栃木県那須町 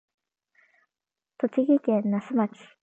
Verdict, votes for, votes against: accepted, 12, 0